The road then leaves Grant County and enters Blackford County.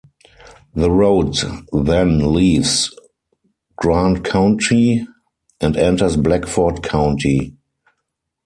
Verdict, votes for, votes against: rejected, 2, 4